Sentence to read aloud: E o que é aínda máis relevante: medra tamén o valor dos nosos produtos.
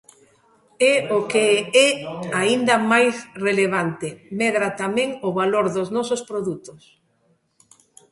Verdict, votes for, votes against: accepted, 2, 0